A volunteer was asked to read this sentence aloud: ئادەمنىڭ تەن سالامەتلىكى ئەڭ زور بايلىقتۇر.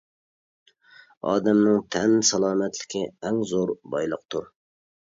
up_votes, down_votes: 3, 0